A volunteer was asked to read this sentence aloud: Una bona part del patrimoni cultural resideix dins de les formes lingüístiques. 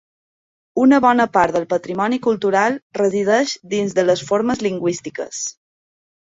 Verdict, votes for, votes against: accepted, 3, 0